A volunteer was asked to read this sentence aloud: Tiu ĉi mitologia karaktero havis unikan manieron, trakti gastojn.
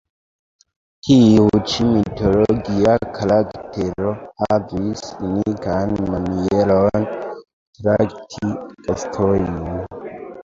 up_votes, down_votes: 1, 2